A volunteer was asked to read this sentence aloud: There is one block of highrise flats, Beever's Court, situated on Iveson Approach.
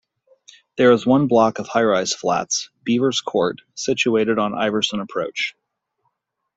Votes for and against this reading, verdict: 1, 2, rejected